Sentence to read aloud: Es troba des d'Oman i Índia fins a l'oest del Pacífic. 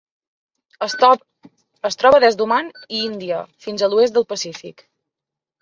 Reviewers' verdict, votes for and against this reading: rejected, 1, 2